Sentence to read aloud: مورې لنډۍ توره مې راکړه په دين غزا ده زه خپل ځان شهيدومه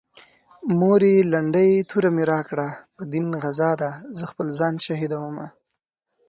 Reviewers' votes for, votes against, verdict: 2, 0, accepted